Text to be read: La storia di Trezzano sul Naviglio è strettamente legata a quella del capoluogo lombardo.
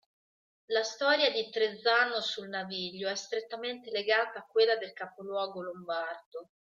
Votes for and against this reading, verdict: 2, 1, accepted